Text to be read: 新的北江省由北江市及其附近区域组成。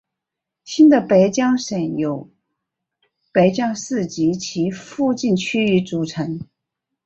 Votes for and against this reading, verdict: 2, 1, accepted